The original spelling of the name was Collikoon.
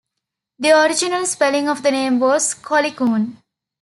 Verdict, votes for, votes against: accepted, 2, 0